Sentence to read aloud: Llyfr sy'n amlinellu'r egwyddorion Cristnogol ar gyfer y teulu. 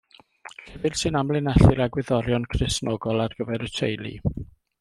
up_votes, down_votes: 1, 2